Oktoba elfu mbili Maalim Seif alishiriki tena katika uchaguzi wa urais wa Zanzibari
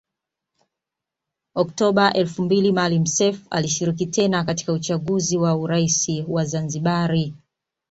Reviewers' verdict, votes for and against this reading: accepted, 2, 0